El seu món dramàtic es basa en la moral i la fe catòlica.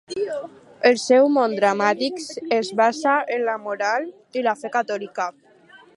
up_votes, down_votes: 6, 0